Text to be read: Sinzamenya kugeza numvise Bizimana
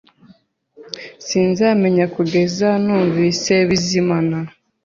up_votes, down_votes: 2, 0